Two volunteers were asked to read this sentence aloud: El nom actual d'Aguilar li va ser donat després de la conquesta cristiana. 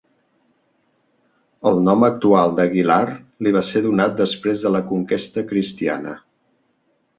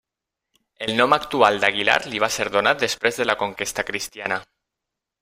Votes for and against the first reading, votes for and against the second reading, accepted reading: 3, 0, 1, 2, first